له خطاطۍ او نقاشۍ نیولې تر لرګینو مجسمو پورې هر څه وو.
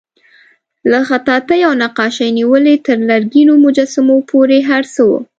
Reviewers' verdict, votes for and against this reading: accepted, 3, 0